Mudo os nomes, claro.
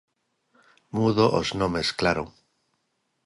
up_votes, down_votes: 2, 0